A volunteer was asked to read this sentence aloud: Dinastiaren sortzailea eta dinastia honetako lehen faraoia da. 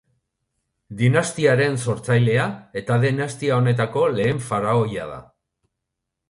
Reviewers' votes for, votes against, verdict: 1, 2, rejected